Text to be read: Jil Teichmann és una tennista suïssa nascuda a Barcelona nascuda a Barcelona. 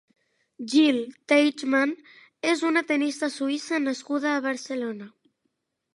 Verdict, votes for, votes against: rejected, 0, 2